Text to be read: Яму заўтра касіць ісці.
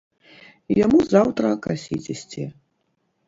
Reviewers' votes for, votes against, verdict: 0, 2, rejected